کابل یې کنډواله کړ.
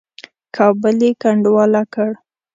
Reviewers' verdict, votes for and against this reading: accepted, 2, 0